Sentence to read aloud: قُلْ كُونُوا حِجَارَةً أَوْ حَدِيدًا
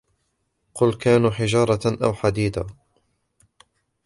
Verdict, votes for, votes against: accepted, 2, 0